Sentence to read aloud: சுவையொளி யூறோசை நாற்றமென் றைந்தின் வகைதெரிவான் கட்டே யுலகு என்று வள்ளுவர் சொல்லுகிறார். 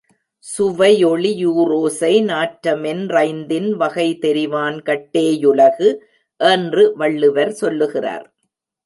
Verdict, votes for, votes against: accepted, 2, 0